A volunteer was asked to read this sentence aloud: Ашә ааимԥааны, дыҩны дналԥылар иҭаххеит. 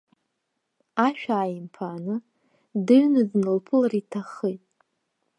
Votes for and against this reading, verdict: 2, 0, accepted